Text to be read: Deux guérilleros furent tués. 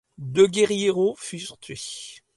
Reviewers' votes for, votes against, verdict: 0, 2, rejected